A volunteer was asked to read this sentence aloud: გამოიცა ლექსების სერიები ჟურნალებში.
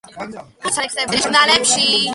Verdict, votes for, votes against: rejected, 0, 2